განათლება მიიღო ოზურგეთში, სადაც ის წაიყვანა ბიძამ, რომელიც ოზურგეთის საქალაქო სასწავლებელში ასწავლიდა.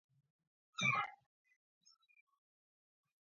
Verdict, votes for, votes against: rejected, 0, 2